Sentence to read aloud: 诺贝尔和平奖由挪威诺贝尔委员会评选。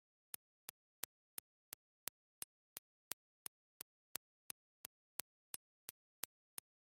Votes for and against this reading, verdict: 0, 2, rejected